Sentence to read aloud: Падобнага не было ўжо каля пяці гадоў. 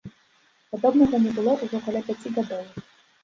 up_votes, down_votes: 2, 0